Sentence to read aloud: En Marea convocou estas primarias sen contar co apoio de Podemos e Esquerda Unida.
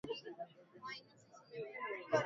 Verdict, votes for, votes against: rejected, 0, 2